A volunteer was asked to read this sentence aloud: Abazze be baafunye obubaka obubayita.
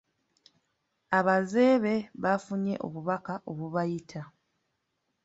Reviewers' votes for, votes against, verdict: 1, 2, rejected